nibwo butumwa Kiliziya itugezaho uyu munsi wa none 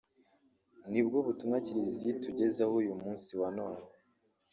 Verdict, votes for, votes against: accepted, 2, 1